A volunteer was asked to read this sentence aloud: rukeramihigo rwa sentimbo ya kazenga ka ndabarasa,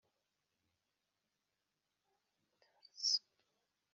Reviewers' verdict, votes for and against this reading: rejected, 1, 2